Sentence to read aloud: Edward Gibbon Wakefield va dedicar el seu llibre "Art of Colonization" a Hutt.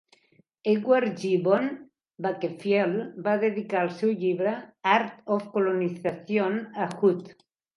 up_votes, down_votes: 2, 1